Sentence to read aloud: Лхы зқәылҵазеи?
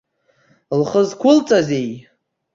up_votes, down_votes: 2, 0